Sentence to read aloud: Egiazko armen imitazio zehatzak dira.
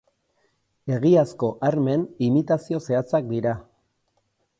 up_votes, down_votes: 4, 0